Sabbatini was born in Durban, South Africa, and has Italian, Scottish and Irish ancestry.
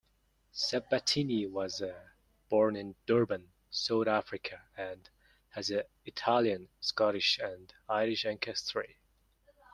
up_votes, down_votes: 1, 2